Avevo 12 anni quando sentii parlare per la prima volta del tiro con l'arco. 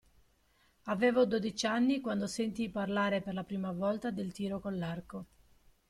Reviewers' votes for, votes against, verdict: 0, 2, rejected